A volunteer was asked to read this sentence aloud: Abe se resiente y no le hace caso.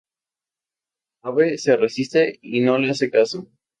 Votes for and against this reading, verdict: 2, 2, rejected